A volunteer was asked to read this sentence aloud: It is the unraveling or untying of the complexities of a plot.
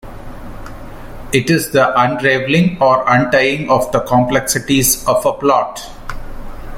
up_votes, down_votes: 2, 0